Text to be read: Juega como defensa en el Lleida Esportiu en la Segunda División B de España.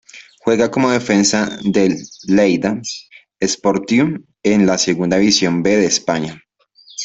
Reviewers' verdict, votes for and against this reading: rejected, 0, 2